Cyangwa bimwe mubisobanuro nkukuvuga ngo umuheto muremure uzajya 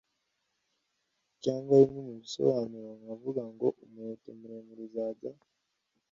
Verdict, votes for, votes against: rejected, 1, 2